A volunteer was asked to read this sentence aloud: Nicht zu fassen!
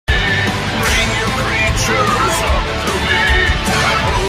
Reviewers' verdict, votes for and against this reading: rejected, 0, 2